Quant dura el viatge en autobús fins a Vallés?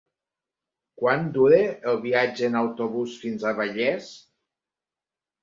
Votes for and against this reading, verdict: 3, 0, accepted